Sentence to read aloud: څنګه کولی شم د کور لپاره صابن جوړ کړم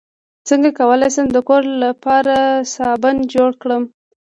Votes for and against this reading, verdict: 2, 0, accepted